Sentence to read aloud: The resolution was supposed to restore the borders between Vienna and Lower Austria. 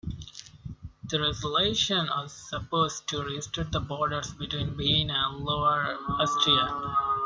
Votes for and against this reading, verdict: 0, 2, rejected